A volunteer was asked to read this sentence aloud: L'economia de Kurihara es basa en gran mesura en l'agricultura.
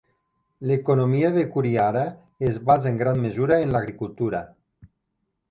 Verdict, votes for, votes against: accepted, 2, 0